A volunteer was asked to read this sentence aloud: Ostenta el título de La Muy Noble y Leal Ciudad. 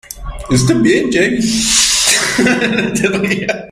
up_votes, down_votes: 0, 2